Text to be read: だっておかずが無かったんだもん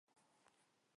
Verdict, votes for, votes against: rejected, 0, 2